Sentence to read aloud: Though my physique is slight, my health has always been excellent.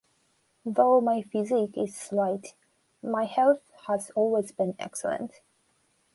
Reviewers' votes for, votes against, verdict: 2, 0, accepted